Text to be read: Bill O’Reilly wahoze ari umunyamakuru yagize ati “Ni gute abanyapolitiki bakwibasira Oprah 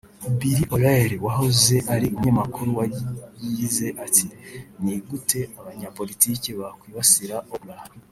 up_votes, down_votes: 1, 2